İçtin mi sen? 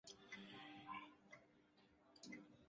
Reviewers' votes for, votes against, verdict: 0, 2, rejected